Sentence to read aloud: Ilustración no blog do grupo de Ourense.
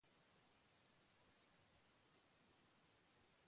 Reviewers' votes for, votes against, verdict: 0, 2, rejected